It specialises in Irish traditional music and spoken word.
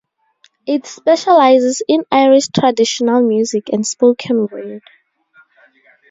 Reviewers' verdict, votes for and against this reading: accepted, 2, 0